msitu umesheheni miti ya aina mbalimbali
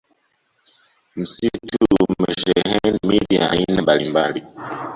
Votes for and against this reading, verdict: 1, 2, rejected